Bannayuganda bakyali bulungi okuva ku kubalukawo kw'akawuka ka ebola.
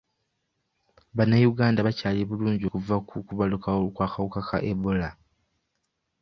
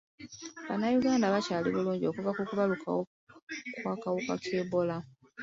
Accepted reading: first